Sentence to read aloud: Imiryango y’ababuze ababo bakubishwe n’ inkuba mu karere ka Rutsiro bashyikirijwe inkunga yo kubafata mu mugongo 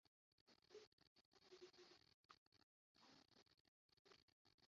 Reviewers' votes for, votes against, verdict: 0, 2, rejected